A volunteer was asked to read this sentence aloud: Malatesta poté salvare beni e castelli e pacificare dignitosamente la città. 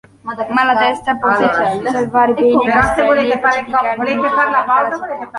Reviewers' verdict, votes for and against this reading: rejected, 0, 2